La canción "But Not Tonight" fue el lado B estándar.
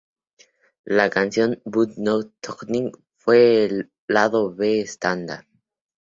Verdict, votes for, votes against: rejected, 2, 2